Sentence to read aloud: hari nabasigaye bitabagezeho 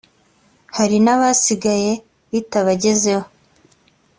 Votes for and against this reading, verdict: 2, 0, accepted